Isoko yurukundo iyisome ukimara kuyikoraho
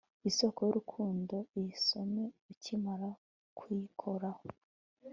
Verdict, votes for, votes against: accepted, 3, 0